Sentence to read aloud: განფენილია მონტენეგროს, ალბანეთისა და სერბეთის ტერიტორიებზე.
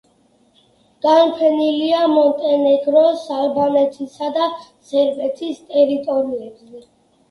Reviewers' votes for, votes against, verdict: 1, 2, rejected